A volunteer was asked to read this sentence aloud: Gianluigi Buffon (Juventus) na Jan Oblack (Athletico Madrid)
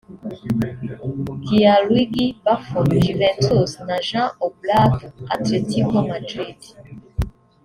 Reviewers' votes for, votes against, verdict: 0, 2, rejected